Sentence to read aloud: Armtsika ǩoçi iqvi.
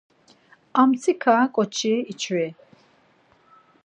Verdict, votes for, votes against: rejected, 0, 4